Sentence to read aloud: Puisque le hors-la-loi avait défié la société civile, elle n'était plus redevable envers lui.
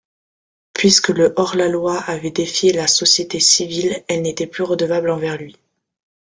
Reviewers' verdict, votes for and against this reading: accepted, 2, 0